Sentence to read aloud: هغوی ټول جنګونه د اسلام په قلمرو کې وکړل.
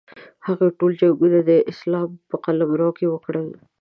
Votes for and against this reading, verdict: 2, 0, accepted